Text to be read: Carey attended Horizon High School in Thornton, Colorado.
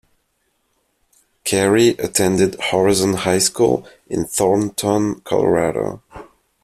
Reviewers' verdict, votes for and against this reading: accepted, 2, 0